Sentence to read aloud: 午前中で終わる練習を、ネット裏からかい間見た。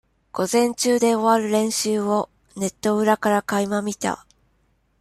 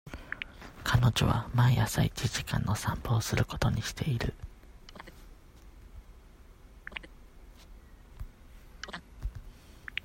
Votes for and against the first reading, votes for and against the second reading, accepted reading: 2, 0, 0, 2, first